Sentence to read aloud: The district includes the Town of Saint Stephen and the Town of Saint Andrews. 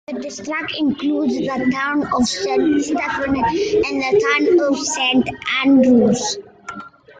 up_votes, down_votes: 0, 2